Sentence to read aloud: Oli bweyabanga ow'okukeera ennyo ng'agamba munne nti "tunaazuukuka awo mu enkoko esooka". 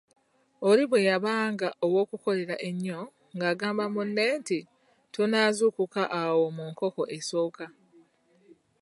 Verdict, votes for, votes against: rejected, 0, 2